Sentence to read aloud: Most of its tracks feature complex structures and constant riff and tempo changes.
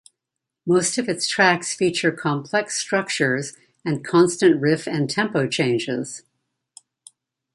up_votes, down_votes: 1, 2